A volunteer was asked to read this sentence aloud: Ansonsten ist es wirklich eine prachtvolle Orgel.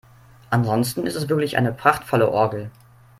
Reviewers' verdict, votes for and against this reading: accepted, 3, 0